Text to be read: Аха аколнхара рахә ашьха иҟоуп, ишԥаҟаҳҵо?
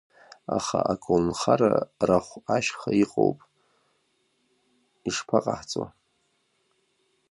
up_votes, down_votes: 1, 2